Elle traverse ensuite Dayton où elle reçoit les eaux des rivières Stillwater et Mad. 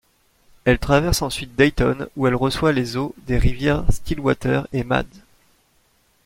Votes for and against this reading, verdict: 2, 0, accepted